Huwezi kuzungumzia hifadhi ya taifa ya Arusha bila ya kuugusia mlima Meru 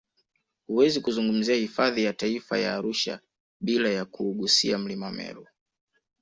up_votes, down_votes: 2, 0